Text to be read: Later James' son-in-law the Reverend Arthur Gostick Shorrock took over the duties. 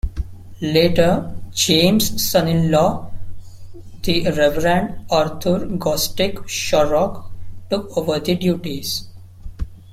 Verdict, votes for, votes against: accepted, 2, 0